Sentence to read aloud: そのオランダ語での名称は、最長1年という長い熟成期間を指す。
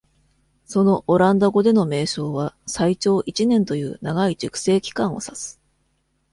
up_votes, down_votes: 0, 2